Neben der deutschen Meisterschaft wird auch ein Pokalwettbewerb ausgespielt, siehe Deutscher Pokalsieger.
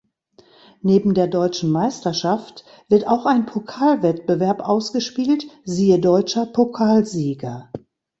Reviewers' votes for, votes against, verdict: 2, 0, accepted